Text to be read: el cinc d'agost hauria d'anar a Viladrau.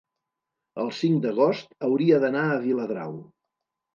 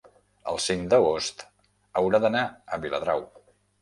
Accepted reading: first